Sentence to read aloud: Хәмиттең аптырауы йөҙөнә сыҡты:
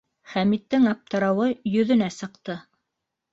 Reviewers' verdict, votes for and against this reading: accepted, 2, 0